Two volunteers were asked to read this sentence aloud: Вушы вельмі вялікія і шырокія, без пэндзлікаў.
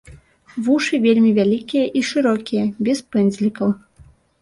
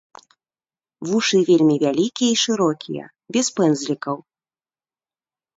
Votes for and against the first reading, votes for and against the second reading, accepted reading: 3, 1, 0, 2, first